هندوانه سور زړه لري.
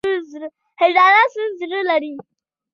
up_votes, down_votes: 2, 0